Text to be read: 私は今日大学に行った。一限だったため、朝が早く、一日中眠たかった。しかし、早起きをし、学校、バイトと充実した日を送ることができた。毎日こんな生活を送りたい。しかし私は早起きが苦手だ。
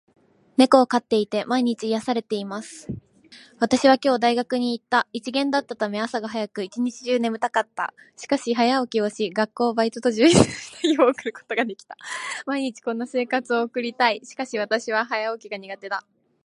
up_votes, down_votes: 3, 0